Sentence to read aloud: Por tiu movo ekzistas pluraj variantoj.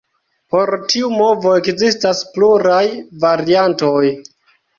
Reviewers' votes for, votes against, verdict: 1, 2, rejected